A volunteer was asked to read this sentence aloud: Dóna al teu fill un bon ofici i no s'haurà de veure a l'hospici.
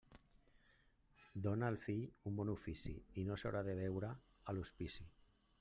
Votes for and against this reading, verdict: 2, 1, accepted